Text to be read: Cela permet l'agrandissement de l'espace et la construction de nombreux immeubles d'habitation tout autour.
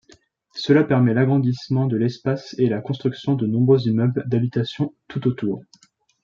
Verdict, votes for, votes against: accepted, 2, 0